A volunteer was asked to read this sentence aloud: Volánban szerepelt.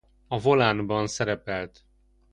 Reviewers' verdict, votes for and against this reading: rejected, 0, 2